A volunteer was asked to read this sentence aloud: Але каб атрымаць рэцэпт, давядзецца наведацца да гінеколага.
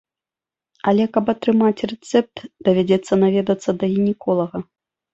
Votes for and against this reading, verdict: 2, 0, accepted